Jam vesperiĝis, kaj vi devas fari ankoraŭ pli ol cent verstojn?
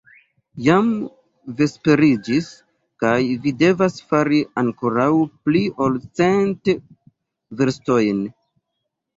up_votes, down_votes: 1, 2